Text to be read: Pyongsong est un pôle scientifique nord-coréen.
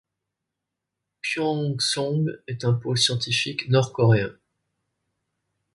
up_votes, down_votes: 2, 0